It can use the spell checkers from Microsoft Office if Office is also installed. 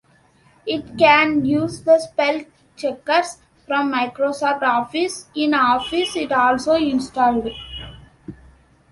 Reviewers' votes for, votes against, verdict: 1, 2, rejected